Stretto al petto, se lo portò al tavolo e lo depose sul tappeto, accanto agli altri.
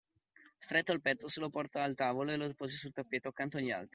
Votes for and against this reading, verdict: 2, 1, accepted